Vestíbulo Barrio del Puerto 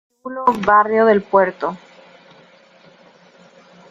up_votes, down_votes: 0, 2